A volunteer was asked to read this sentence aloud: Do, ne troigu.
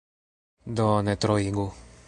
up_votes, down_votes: 0, 3